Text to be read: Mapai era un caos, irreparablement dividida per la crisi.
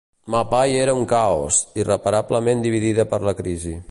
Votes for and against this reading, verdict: 2, 0, accepted